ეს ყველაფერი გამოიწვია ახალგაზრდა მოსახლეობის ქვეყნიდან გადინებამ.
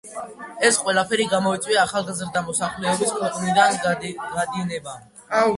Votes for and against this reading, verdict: 0, 2, rejected